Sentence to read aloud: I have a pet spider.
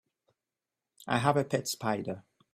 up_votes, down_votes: 3, 0